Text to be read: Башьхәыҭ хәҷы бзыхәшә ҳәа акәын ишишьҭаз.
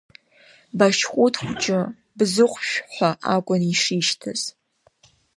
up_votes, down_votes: 3, 0